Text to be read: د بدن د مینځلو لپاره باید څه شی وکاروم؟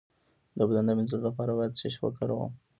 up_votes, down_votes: 2, 0